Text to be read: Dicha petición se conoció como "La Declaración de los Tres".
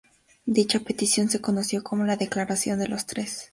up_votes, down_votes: 2, 0